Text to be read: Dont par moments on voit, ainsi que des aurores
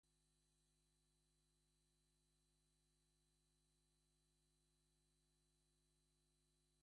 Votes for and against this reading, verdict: 0, 2, rejected